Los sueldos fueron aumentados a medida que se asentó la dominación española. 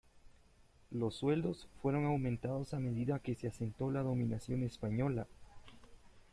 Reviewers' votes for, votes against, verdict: 0, 2, rejected